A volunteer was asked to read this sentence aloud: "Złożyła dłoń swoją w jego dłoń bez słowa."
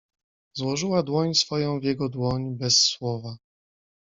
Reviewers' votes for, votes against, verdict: 2, 0, accepted